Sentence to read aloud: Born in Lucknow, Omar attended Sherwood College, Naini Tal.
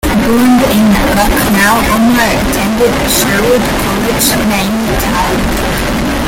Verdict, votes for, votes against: rejected, 0, 2